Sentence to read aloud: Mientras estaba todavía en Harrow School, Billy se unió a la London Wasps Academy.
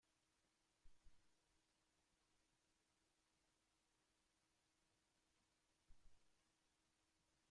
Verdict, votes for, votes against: rejected, 0, 2